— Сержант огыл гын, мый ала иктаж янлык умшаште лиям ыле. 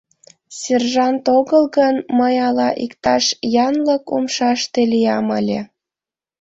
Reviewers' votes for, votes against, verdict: 2, 0, accepted